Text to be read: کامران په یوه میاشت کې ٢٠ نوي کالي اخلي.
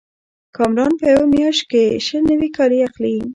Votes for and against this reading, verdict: 0, 2, rejected